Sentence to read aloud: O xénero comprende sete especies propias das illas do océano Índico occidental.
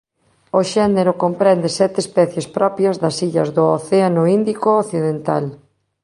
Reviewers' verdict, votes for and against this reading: accepted, 2, 0